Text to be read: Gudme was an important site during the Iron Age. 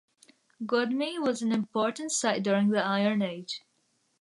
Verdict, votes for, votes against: accepted, 2, 0